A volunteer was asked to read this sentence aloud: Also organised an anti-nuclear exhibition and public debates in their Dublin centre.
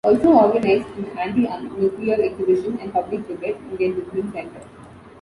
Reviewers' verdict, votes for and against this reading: rejected, 1, 2